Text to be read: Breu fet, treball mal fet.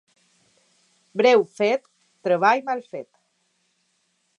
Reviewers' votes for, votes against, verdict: 4, 0, accepted